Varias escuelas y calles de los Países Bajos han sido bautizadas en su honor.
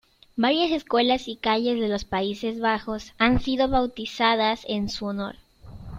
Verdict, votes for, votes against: accepted, 2, 0